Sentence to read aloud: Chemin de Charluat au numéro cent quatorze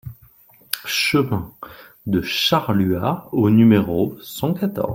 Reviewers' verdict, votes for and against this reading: rejected, 1, 2